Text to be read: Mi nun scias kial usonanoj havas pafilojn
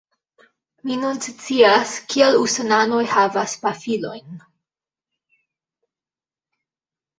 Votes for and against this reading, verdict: 1, 2, rejected